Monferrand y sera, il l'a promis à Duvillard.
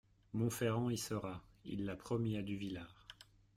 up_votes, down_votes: 1, 2